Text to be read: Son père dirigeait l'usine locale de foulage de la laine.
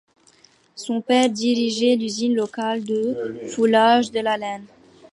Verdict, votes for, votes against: accepted, 2, 0